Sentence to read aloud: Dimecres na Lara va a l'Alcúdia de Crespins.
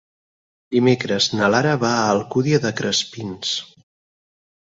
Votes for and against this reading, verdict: 0, 6, rejected